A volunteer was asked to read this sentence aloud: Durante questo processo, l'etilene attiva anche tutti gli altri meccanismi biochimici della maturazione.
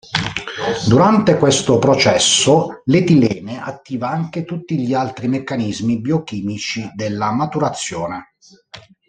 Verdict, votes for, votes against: rejected, 1, 2